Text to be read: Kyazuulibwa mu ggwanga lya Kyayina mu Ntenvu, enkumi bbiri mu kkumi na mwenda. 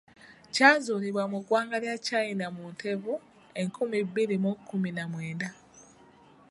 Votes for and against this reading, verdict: 1, 2, rejected